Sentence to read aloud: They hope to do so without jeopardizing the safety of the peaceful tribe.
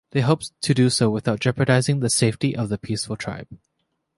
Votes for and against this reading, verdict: 2, 0, accepted